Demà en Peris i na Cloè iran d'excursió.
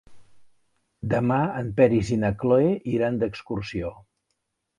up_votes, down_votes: 1, 2